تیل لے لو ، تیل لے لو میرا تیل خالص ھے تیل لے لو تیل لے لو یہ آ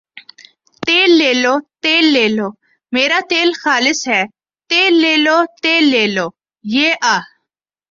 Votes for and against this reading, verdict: 2, 0, accepted